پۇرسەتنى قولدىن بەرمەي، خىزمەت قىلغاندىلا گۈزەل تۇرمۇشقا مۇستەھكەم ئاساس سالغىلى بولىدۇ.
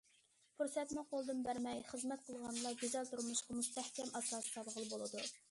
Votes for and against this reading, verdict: 0, 2, rejected